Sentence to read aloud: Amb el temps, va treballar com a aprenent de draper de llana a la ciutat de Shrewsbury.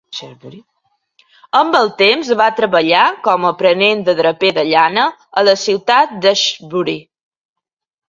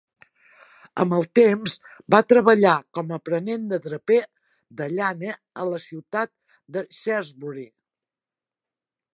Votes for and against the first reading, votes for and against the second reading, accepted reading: 0, 2, 2, 0, second